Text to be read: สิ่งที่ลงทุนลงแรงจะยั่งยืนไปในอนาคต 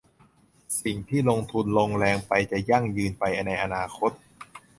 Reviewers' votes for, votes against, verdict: 0, 3, rejected